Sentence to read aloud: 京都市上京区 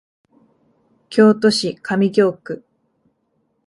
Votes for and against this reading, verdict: 1, 2, rejected